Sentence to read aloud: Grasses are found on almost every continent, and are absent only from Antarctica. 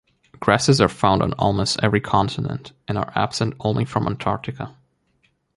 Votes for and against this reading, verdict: 2, 0, accepted